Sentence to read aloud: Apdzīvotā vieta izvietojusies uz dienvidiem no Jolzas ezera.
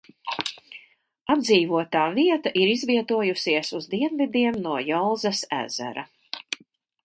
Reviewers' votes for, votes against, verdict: 2, 2, rejected